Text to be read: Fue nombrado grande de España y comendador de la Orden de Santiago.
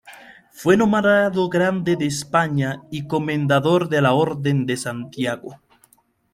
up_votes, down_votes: 2, 1